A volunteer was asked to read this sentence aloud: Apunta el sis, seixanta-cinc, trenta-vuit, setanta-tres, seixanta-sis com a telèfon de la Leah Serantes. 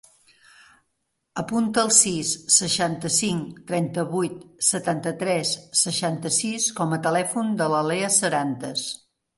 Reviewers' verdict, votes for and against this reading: accepted, 2, 0